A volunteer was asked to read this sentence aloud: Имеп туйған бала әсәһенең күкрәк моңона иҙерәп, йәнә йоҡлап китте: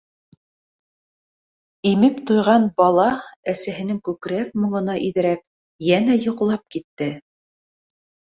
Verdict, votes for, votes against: accepted, 2, 0